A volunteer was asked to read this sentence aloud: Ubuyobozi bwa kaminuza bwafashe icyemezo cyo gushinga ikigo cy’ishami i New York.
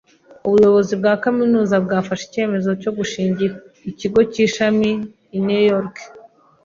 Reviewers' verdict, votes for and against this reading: accepted, 2, 0